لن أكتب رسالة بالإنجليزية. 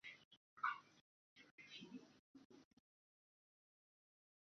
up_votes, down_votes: 0, 2